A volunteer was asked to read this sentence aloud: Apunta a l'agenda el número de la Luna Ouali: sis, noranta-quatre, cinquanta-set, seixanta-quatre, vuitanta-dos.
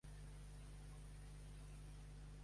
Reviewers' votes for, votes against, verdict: 1, 2, rejected